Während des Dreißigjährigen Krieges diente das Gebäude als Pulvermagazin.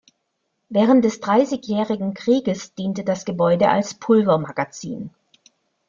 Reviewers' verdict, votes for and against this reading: accepted, 2, 0